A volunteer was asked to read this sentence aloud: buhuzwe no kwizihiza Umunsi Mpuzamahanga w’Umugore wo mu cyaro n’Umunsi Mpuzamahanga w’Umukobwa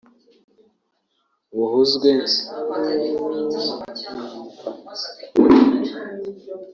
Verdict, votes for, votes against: rejected, 0, 2